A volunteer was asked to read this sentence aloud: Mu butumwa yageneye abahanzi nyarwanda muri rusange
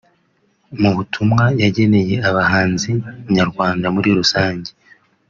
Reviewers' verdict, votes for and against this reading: accepted, 2, 0